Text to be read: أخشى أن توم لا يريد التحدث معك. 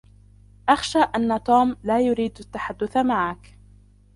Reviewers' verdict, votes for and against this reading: rejected, 0, 2